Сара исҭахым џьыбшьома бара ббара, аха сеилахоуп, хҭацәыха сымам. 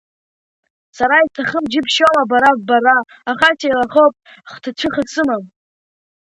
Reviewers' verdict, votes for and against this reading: rejected, 1, 2